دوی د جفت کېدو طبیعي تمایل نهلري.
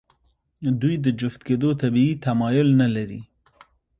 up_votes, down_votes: 2, 0